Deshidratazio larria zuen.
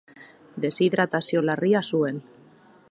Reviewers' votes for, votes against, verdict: 0, 2, rejected